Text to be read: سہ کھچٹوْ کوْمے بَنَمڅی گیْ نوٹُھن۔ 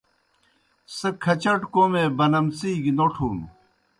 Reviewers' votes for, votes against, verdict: 2, 0, accepted